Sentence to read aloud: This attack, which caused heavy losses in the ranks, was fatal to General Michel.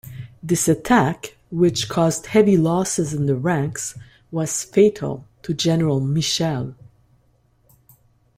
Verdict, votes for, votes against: accepted, 2, 0